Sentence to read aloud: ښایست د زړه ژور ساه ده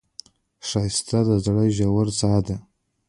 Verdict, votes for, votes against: rejected, 0, 2